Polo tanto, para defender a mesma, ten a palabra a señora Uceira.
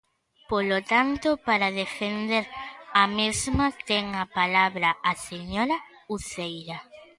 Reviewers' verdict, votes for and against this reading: accepted, 2, 1